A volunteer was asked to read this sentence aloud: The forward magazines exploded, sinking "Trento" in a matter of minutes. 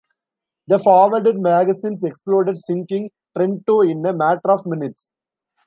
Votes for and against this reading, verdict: 1, 2, rejected